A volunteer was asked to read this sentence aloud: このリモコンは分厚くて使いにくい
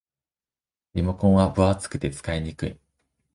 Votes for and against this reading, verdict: 0, 2, rejected